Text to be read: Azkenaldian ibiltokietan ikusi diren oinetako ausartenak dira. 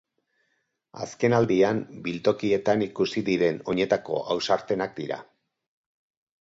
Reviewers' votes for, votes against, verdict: 0, 2, rejected